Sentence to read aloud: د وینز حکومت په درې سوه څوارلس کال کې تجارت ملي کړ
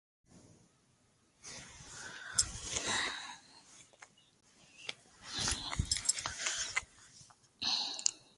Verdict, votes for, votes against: rejected, 1, 2